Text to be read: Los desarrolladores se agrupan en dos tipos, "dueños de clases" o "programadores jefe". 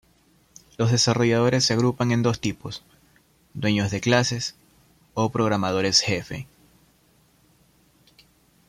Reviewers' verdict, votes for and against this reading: accepted, 2, 0